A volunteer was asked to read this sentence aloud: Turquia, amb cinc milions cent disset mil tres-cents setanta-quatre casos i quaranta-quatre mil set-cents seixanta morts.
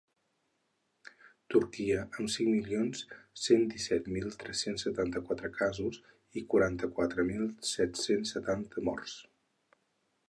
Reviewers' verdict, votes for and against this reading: rejected, 2, 4